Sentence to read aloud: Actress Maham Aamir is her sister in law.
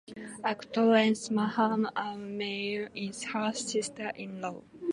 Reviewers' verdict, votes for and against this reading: accepted, 2, 0